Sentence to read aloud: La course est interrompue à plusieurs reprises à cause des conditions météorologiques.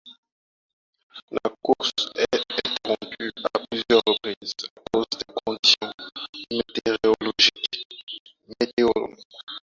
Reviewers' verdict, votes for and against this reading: rejected, 0, 4